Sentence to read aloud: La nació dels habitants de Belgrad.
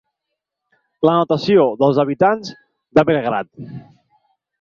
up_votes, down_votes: 0, 4